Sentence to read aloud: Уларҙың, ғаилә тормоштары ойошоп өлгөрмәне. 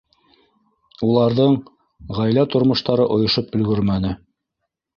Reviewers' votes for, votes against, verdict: 2, 0, accepted